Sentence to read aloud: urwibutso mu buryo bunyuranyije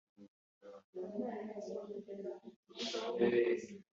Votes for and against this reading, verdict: 1, 2, rejected